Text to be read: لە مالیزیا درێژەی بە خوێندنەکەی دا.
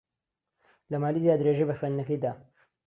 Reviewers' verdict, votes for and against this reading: accepted, 2, 0